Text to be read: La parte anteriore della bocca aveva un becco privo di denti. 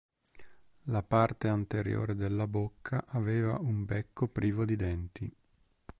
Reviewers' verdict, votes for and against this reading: accepted, 3, 0